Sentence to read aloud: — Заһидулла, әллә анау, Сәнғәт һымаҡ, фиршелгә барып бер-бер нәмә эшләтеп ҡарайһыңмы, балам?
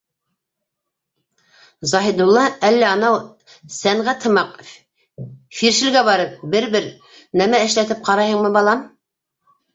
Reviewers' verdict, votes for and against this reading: rejected, 0, 2